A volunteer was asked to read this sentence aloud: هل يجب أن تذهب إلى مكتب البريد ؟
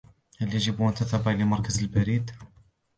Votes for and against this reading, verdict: 0, 2, rejected